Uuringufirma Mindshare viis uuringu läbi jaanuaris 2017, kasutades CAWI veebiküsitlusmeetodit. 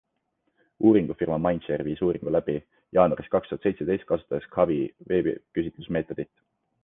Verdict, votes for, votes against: rejected, 0, 2